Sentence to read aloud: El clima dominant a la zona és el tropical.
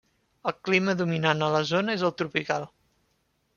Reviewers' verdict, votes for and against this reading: accepted, 3, 0